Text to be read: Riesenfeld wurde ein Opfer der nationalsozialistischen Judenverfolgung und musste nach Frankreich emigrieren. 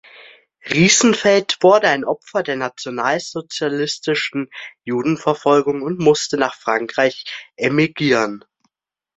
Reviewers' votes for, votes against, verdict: 0, 3, rejected